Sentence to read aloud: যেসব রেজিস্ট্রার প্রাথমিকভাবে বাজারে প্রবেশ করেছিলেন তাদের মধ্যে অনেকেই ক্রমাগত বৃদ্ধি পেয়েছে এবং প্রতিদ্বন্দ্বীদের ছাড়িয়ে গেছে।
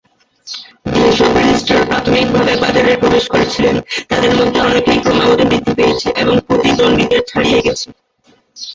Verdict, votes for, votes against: accepted, 4, 2